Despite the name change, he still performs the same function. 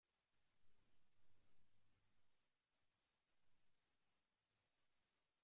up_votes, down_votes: 0, 2